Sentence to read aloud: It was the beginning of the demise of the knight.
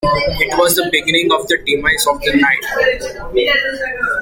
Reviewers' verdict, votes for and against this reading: rejected, 0, 2